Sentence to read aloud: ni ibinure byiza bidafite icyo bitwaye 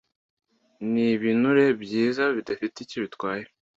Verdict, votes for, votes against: accepted, 2, 0